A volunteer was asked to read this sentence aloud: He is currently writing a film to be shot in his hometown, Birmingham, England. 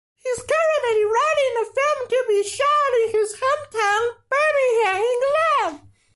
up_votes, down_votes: 2, 0